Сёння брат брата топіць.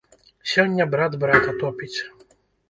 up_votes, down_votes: 1, 2